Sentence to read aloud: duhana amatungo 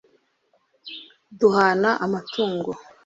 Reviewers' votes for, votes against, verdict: 2, 0, accepted